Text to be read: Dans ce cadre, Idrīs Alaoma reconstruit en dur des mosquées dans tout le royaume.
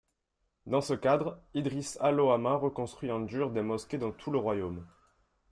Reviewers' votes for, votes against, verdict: 2, 0, accepted